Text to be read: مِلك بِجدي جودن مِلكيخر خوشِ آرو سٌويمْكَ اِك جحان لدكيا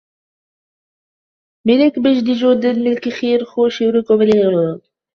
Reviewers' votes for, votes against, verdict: 1, 2, rejected